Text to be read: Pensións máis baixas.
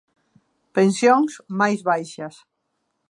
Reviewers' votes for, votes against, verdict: 2, 0, accepted